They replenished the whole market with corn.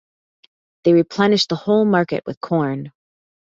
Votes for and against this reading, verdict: 2, 0, accepted